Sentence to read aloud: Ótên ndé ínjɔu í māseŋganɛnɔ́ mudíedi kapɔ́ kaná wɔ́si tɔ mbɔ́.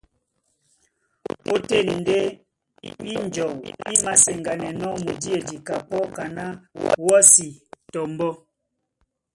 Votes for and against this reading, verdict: 0, 2, rejected